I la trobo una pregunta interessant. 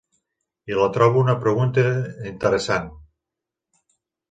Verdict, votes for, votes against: accepted, 3, 0